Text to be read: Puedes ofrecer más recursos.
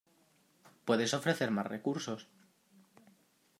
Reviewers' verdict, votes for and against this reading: accepted, 2, 0